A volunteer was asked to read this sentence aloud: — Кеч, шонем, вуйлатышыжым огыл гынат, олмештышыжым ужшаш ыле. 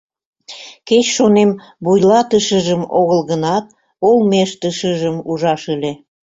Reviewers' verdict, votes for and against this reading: rejected, 0, 2